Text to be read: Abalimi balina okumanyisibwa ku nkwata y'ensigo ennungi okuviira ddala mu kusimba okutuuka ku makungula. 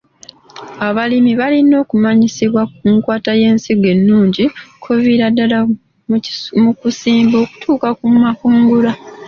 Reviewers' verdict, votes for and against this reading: accepted, 2, 0